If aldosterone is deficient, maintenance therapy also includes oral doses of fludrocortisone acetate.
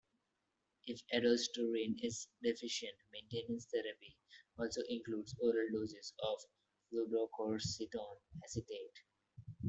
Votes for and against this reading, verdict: 1, 2, rejected